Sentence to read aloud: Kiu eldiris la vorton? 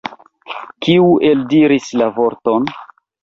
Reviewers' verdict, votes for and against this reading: accepted, 2, 1